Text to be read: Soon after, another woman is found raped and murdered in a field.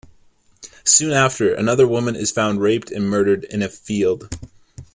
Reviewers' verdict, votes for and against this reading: accepted, 2, 0